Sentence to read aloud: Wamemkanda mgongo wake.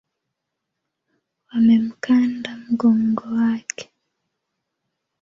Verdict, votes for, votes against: accepted, 3, 2